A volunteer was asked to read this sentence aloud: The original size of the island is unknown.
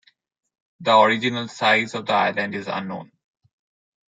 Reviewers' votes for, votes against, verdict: 1, 2, rejected